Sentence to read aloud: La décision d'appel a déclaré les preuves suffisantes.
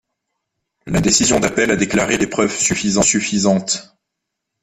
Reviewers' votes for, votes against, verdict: 0, 2, rejected